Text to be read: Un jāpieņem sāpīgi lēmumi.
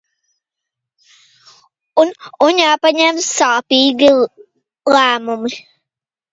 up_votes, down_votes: 0, 2